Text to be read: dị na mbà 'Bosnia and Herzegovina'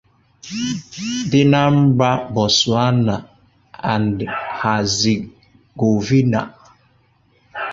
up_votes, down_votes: 0, 2